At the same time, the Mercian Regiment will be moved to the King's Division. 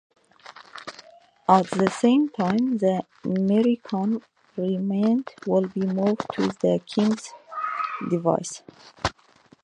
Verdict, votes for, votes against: rejected, 0, 2